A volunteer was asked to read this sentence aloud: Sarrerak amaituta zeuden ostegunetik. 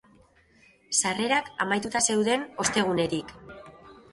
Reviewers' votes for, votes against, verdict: 7, 3, accepted